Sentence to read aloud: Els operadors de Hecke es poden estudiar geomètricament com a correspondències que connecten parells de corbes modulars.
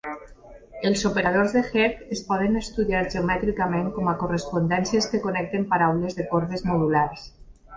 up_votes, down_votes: 0, 2